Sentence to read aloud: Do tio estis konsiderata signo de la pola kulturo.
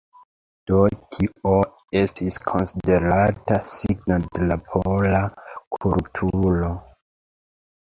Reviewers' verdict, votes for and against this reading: accepted, 2, 0